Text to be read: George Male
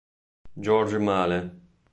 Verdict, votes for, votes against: rejected, 1, 2